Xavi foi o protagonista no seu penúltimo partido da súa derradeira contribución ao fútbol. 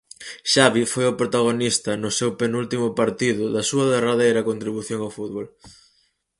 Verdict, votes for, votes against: accepted, 4, 0